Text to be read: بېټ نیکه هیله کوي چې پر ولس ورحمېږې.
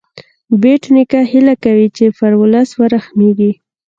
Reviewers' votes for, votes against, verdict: 1, 2, rejected